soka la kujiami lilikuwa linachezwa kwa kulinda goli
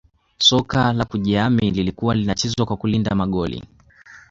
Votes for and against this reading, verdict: 2, 0, accepted